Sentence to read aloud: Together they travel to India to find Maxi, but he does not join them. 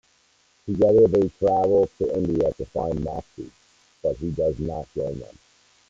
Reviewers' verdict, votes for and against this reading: rejected, 0, 2